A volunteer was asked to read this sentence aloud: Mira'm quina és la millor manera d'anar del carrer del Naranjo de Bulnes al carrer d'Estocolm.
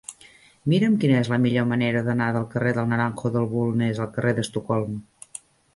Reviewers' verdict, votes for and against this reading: rejected, 1, 2